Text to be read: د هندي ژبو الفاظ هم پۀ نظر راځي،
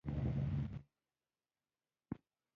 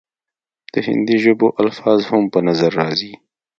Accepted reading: second